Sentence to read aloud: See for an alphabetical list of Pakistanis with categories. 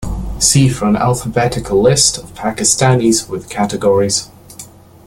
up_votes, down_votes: 0, 2